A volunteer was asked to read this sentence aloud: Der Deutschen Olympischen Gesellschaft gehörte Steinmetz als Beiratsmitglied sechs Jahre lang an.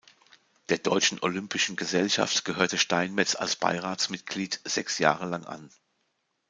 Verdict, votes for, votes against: accepted, 2, 0